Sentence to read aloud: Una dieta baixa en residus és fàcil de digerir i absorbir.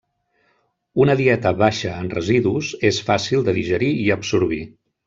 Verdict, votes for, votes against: accepted, 3, 0